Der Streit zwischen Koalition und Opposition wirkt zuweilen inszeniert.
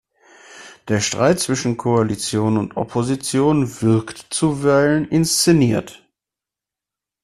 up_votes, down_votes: 2, 0